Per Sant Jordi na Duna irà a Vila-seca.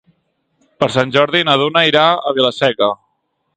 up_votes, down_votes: 2, 0